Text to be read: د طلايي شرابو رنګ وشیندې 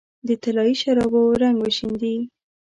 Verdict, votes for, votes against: accepted, 2, 0